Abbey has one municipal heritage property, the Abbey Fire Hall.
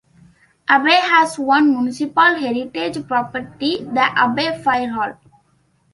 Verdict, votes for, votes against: accepted, 2, 1